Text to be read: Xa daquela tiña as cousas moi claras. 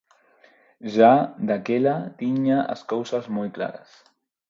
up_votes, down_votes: 0, 4